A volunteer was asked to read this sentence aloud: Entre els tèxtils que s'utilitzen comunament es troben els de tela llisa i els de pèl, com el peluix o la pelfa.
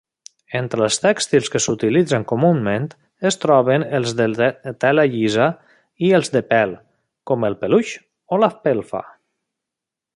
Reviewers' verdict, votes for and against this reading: rejected, 1, 2